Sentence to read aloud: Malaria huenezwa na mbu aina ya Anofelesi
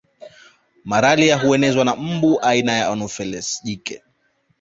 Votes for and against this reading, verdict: 1, 2, rejected